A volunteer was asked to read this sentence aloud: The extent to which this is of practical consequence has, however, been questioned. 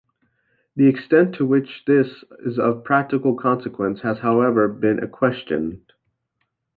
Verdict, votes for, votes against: rejected, 0, 2